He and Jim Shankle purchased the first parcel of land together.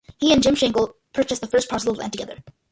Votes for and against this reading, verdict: 0, 2, rejected